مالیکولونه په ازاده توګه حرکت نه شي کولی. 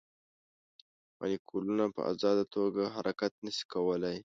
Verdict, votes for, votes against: accepted, 2, 1